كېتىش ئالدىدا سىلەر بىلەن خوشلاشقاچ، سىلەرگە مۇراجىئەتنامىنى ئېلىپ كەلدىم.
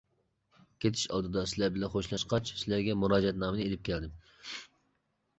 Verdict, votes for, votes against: accepted, 2, 0